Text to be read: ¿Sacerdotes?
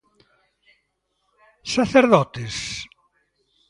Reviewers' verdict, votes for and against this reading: rejected, 1, 2